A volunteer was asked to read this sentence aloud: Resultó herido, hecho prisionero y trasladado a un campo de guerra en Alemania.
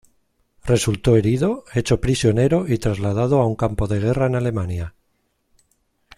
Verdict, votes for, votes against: accepted, 2, 0